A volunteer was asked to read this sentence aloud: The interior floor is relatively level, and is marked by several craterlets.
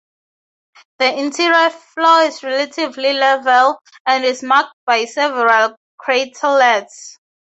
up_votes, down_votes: 2, 0